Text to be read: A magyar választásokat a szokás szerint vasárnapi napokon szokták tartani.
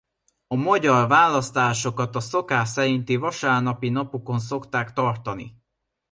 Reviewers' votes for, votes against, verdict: 2, 0, accepted